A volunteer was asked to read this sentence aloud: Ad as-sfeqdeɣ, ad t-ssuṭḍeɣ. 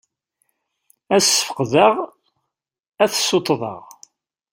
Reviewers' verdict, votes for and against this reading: accepted, 2, 0